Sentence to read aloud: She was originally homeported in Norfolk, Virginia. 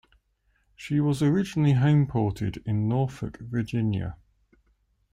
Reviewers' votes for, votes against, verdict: 2, 0, accepted